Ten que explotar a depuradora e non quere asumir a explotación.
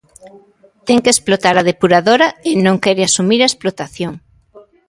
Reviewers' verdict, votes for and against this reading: accepted, 2, 1